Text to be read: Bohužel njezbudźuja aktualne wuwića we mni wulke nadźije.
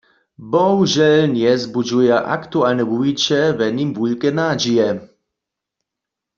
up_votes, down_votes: 0, 2